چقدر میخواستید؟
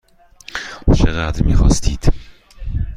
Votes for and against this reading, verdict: 2, 0, accepted